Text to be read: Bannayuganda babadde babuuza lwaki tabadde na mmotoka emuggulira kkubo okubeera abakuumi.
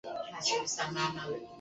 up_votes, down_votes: 1, 2